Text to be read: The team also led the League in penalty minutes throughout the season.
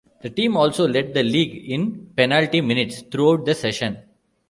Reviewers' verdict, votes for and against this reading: rejected, 0, 2